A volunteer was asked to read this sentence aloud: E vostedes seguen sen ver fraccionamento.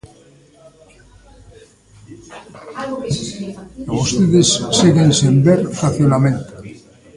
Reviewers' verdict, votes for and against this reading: rejected, 0, 2